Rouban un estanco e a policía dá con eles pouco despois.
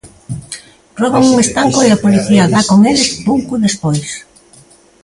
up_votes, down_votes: 0, 2